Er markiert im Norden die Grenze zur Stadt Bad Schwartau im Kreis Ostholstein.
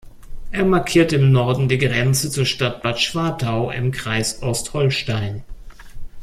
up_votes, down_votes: 2, 0